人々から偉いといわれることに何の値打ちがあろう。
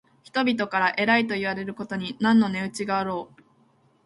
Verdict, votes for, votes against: rejected, 1, 3